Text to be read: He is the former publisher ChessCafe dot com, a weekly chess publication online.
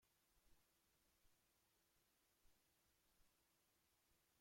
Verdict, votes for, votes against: rejected, 0, 2